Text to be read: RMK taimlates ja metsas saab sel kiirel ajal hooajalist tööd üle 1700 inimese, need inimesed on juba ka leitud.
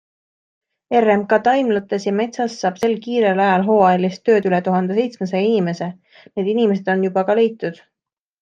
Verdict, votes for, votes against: rejected, 0, 2